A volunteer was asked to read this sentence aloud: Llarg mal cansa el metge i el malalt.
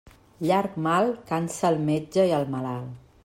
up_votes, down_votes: 2, 0